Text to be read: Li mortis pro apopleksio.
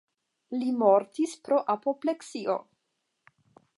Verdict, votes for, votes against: accepted, 10, 0